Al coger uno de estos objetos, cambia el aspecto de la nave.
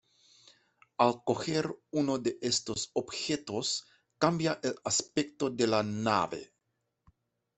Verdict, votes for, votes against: accepted, 2, 0